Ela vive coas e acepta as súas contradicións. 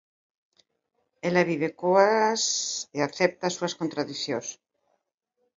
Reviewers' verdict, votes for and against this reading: accepted, 2, 0